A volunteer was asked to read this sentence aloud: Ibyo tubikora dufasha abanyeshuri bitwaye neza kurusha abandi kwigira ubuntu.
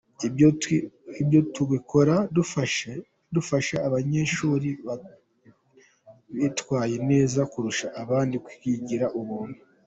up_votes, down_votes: 1, 2